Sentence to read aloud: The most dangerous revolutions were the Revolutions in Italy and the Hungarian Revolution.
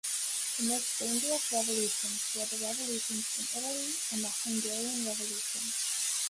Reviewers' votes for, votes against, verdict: 0, 2, rejected